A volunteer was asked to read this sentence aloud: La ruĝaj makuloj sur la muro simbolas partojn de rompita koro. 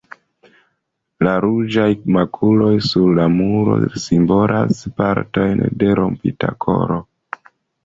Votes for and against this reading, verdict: 2, 0, accepted